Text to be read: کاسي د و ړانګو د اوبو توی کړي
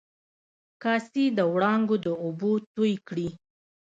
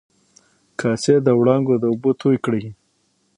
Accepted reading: second